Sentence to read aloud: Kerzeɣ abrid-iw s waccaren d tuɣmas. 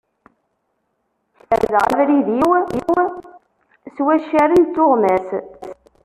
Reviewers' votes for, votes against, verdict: 1, 2, rejected